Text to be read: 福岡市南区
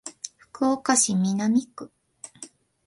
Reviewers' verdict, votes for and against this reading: accepted, 2, 0